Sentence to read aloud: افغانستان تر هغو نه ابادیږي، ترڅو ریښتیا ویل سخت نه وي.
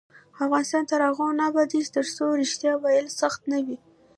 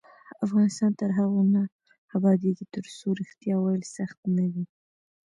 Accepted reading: second